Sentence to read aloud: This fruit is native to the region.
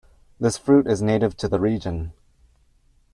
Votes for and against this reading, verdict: 3, 0, accepted